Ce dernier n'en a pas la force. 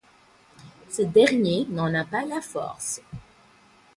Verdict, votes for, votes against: accepted, 4, 0